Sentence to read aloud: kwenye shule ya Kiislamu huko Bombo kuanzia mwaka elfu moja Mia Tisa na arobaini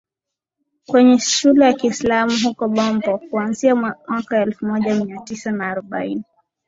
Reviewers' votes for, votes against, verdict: 2, 0, accepted